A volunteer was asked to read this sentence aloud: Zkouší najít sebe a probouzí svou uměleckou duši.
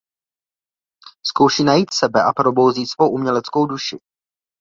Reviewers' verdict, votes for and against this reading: accepted, 2, 0